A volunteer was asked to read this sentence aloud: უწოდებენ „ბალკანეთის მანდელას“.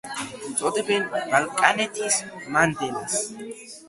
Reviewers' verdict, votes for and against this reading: accepted, 2, 0